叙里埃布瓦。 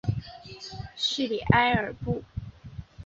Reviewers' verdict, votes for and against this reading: accepted, 2, 1